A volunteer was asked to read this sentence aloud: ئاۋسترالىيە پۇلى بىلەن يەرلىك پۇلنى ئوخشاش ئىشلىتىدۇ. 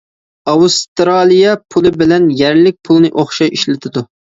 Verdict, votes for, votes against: accepted, 2, 0